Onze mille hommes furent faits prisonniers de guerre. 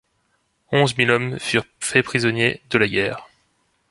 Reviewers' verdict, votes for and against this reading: rejected, 1, 2